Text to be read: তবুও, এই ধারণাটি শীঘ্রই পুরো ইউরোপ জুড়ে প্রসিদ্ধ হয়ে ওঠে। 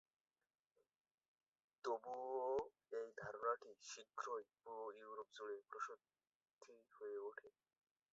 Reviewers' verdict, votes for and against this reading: rejected, 1, 7